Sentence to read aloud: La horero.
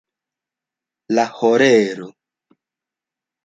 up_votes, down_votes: 2, 0